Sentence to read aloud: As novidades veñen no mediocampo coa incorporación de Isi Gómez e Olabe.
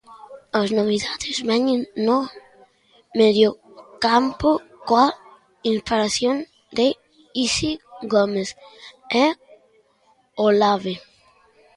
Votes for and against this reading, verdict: 0, 2, rejected